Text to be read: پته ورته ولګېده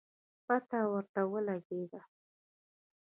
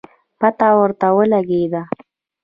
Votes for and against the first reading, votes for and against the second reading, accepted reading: 2, 0, 1, 2, first